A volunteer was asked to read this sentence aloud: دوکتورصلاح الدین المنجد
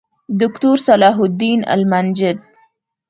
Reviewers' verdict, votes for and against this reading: accepted, 2, 0